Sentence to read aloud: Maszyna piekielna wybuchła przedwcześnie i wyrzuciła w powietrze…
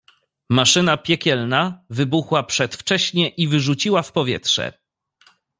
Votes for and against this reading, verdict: 2, 0, accepted